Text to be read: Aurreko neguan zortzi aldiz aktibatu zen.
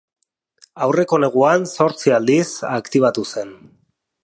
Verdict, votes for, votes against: accepted, 3, 0